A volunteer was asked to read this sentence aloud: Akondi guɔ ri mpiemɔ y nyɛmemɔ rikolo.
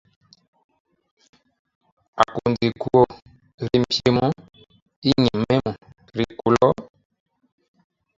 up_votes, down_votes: 0, 2